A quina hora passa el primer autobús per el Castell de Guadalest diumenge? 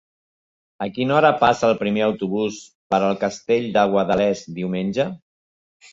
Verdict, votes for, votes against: accepted, 2, 0